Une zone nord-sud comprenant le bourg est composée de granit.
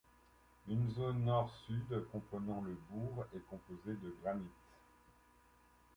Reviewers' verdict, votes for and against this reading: accepted, 2, 1